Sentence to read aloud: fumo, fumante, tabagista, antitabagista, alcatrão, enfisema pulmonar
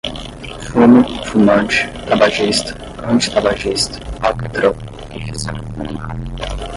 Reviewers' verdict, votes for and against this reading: accepted, 5, 0